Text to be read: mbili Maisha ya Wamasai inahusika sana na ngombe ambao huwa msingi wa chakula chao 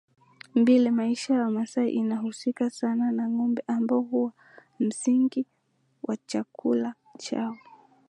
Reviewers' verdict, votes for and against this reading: accepted, 2, 0